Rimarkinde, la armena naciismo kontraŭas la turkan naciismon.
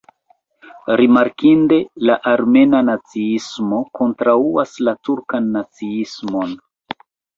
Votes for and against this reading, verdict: 2, 0, accepted